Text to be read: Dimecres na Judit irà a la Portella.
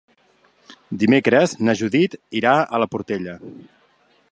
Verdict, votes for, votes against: accepted, 3, 0